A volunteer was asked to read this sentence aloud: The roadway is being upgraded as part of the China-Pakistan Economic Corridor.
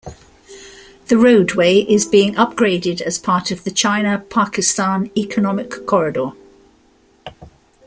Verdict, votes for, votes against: accepted, 2, 0